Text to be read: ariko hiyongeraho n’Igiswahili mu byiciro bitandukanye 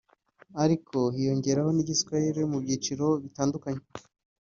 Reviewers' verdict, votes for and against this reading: accepted, 2, 0